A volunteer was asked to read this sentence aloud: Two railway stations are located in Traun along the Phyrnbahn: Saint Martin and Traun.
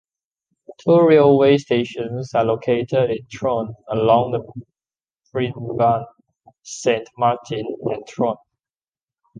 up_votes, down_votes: 0, 2